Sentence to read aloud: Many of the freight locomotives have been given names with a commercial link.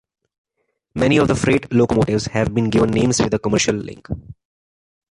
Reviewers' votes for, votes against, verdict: 2, 1, accepted